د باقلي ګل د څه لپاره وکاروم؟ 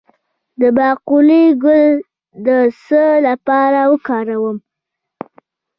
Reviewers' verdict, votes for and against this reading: rejected, 1, 2